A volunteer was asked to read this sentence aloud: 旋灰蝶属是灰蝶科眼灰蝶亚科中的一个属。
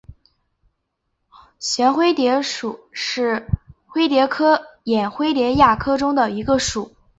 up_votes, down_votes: 2, 1